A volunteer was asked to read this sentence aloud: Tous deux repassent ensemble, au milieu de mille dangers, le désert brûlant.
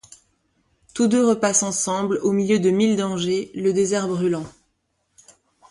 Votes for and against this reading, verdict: 2, 0, accepted